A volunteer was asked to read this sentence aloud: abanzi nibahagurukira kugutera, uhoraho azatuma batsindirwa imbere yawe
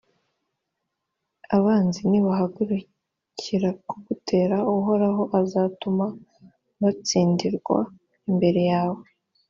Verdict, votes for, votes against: accepted, 2, 0